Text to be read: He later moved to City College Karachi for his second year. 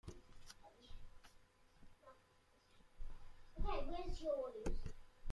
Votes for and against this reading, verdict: 1, 2, rejected